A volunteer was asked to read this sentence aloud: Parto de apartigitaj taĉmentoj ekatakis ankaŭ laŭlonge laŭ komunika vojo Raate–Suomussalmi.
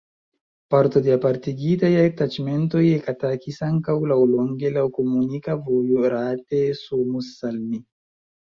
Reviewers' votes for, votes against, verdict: 1, 2, rejected